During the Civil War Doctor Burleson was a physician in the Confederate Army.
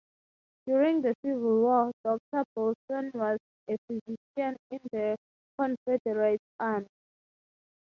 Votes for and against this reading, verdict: 3, 6, rejected